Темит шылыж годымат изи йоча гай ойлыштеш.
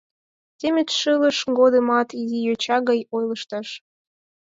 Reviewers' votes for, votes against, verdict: 4, 6, rejected